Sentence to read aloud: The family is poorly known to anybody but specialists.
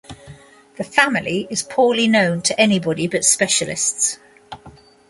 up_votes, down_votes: 2, 0